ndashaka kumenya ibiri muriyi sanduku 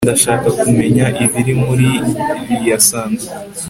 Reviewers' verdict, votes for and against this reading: accepted, 2, 0